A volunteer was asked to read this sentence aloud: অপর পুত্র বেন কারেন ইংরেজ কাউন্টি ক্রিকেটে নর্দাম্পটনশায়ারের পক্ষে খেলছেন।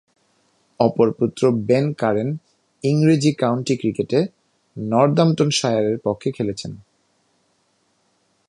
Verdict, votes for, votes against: accepted, 2, 1